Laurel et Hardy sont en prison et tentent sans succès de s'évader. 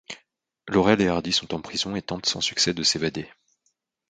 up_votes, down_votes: 2, 0